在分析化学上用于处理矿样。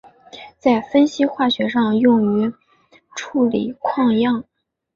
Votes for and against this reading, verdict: 2, 0, accepted